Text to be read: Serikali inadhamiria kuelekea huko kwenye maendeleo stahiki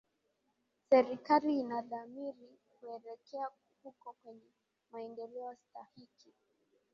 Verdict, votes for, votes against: rejected, 2, 2